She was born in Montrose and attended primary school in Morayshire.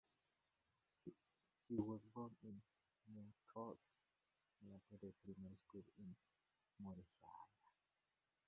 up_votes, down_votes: 0, 2